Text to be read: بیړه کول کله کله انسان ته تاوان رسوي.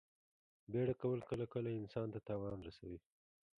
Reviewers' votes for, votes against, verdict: 2, 1, accepted